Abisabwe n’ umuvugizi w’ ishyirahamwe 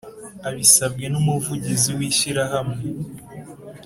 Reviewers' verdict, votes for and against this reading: accepted, 2, 0